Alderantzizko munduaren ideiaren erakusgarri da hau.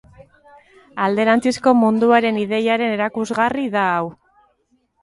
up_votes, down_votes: 2, 1